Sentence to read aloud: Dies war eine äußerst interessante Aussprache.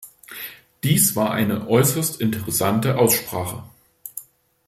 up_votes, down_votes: 2, 0